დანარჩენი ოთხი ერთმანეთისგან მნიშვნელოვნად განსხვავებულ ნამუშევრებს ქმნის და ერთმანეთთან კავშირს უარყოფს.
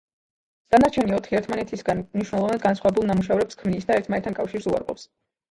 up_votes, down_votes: 0, 2